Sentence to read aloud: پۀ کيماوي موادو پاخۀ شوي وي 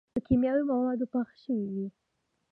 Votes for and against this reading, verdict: 2, 0, accepted